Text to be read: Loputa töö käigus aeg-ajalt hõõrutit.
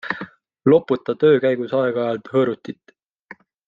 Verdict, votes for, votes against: accepted, 2, 0